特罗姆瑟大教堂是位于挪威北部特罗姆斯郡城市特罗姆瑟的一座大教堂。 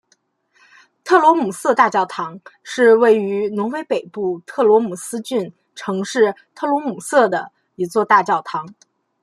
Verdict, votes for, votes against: accepted, 2, 1